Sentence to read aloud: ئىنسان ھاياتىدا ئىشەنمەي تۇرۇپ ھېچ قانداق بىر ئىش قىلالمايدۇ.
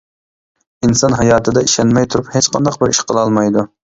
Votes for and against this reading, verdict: 2, 0, accepted